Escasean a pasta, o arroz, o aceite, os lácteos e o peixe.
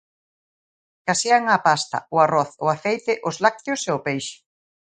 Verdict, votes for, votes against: rejected, 0, 2